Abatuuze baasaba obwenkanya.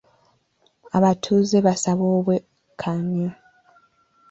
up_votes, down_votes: 1, 2